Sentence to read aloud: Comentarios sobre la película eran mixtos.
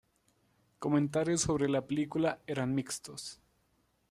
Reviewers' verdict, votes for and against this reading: accepted, 2, 0